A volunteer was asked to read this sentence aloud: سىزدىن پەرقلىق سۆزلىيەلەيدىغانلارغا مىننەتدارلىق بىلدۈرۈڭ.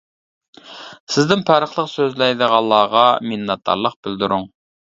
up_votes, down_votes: 0, 2